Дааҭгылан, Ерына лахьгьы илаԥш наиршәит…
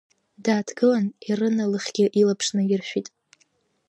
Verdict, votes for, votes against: rejected, 0, 2